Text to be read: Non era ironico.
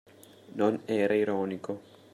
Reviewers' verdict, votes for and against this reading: rejected, 1, 2